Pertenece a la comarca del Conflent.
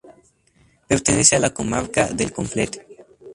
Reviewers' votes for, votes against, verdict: 0, 2, rejected